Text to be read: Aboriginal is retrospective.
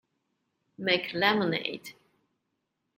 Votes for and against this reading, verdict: 0, 2, rejected